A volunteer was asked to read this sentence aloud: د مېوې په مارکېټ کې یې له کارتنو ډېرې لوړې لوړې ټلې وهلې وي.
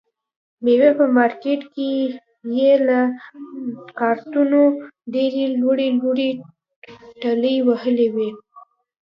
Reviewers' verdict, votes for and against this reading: rejected, 1, 2